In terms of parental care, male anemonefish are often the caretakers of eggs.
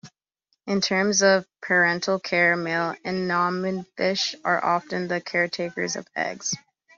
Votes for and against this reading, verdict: 2, 3, rejected